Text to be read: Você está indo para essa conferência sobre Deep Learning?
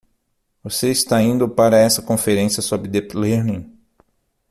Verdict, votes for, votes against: rejected, 0, 6